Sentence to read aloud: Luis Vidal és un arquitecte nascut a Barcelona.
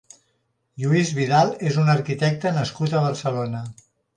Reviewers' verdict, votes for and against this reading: rejected, 1, 2